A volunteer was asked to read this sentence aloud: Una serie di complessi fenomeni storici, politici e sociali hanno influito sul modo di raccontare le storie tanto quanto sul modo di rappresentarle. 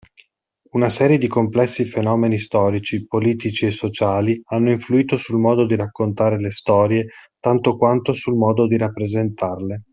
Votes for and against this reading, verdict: 2, 0, accepted